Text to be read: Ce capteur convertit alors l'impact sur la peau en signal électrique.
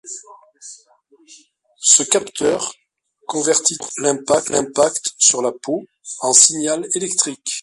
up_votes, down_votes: 0, 2